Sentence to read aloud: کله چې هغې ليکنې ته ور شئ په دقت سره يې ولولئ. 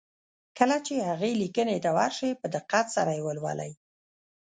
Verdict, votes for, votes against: accepted, 2, 0